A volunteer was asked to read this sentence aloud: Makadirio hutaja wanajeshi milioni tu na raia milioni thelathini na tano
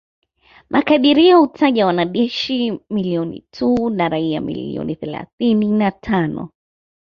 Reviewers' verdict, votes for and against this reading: accepted, 2, 0